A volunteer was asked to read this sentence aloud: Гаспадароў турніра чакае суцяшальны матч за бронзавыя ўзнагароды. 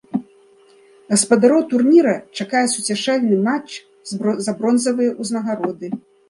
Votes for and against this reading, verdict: 0, 2, rejected